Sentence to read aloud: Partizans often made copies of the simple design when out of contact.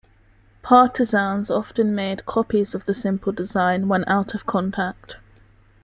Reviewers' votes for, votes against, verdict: 2, 0, accepted